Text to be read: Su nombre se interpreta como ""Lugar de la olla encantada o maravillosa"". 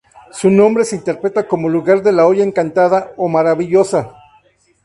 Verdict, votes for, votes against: rejected, 0, 2